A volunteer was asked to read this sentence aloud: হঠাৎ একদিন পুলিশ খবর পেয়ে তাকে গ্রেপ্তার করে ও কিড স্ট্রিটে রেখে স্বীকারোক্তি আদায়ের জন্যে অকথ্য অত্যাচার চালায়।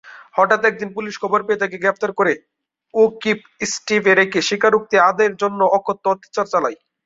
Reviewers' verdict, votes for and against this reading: accepted, 3, 1